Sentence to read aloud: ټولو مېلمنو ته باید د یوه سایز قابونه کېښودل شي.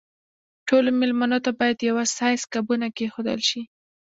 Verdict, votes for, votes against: accepted, 2, 1